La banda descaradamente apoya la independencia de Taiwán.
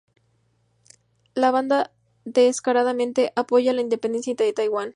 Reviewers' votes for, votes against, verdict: 4, 0, accepted